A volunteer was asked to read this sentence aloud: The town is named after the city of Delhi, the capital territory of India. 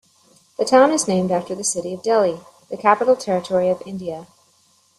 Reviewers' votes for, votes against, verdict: 2, 0, accepted